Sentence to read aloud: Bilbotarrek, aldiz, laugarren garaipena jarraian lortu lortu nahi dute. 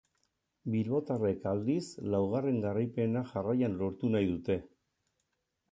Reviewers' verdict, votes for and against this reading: rejected, 2, 4